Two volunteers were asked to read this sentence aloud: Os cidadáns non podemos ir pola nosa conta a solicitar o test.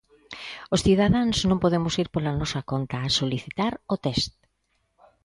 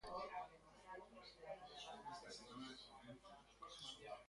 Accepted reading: first